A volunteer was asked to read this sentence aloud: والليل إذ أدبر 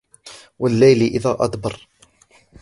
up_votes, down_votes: 2, 0